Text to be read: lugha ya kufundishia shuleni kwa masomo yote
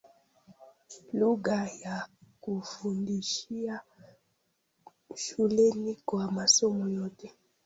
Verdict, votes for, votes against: rejected, 0, 2